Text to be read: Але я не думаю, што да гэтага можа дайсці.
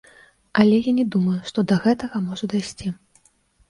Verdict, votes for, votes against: accepted, 2, 0